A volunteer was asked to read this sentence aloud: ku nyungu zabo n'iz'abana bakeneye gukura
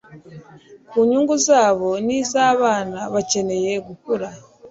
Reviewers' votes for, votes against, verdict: 2, 0, accepted